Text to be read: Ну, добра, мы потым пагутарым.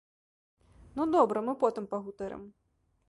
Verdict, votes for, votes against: accepted, 2, 0